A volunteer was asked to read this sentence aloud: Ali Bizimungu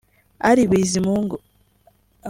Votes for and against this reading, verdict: 2, 0, accepted